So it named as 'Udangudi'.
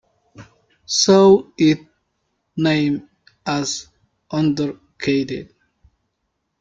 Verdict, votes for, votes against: rejected, 0, 2